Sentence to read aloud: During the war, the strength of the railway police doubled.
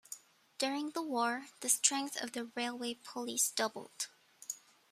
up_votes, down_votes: 1, 2